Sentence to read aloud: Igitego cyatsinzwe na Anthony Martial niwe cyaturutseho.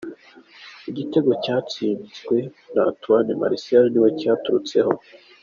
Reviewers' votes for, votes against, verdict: 3, 1, accepted